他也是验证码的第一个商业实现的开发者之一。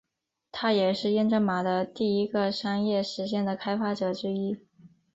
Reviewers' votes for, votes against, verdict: 7, 0, accepted